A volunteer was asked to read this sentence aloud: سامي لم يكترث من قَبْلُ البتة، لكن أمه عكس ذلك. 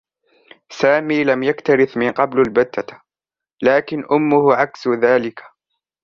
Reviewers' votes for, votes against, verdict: 2, 0, accepted